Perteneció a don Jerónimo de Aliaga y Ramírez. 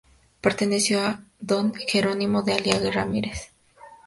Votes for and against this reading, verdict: 2, 0, accepted